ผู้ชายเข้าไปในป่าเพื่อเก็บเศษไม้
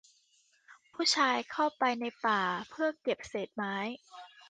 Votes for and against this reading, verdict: 2, 0, accepted